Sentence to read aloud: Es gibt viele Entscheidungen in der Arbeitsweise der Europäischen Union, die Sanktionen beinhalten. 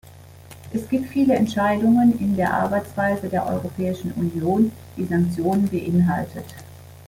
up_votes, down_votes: 0, 2